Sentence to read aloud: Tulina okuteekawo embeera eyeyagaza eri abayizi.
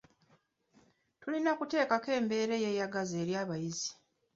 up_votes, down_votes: 0, 2